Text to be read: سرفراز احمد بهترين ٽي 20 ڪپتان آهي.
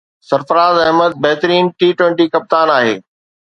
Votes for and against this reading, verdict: 0, 2, rejected